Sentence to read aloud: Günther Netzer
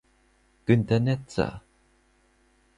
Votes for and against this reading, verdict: 4, 0, accepted